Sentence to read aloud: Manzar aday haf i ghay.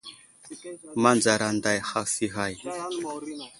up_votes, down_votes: 1, 2